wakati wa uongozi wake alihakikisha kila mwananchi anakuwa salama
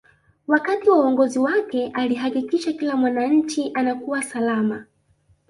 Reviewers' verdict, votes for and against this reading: accepted, 2, 0